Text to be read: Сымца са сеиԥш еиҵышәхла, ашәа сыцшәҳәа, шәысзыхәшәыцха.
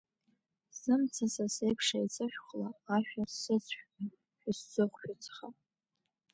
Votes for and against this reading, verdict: 1, 2, rejected